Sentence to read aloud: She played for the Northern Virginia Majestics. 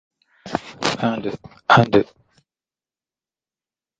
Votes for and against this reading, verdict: 0, 2, rejected